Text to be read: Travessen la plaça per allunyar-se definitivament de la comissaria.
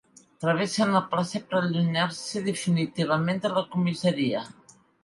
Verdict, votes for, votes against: accepted, 2, 1